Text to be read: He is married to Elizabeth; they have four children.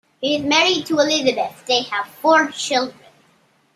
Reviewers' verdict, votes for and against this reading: accepted, 2, 1